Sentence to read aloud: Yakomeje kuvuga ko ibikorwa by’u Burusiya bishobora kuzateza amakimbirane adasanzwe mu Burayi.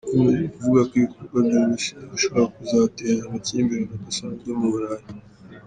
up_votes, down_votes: 1, 2